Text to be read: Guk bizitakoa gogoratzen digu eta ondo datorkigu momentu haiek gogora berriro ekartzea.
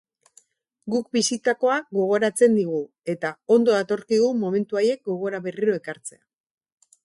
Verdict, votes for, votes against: accepted, 4, 0